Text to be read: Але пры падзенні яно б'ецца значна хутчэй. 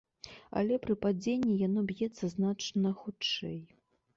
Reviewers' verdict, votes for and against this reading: accepted, 2, 0